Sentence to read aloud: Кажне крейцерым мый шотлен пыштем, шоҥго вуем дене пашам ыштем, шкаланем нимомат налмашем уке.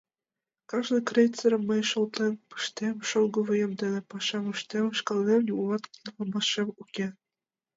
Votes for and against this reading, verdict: 2, 0, accepted